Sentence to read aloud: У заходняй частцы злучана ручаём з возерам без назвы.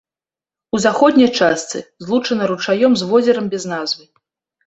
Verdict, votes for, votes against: rejected, 1, 2